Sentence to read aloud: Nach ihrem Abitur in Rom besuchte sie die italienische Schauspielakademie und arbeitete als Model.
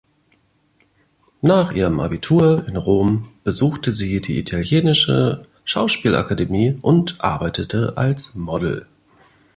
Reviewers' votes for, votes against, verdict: 2, 0, accepted